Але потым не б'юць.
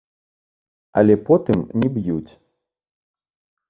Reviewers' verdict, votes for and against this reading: rejected, 0, 2